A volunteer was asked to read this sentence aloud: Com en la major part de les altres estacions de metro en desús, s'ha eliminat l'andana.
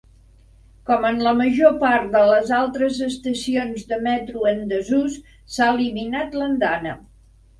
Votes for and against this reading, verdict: 3, 0, accepted